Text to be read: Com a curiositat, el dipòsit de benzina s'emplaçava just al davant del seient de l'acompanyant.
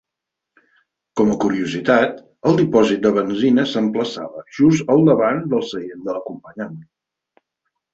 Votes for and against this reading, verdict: 10, 0, accepted